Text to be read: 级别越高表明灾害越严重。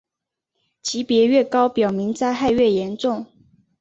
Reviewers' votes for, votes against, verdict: 2, 0, accepted